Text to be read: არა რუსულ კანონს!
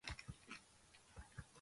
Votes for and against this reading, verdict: 1, 2, rejected